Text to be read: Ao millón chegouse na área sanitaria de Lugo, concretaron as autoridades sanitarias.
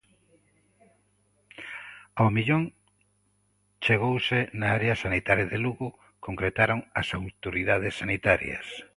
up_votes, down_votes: 2, 0